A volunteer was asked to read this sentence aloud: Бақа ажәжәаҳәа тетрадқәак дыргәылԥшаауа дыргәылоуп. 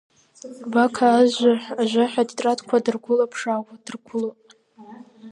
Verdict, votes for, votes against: rejected, 0, 2